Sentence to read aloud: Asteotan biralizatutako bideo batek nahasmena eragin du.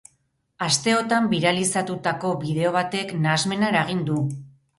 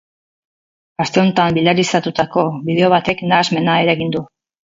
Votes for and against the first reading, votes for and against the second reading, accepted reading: 2, 2, 6, 0, second